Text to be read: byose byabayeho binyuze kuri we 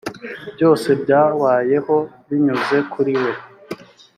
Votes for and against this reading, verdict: 3, 0, accepted